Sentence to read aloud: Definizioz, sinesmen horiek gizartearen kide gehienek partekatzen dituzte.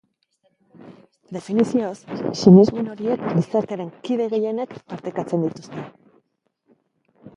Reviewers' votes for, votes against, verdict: 0, 2, rejected